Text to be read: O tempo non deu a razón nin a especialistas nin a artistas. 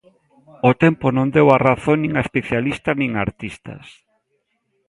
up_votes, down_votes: 2, 0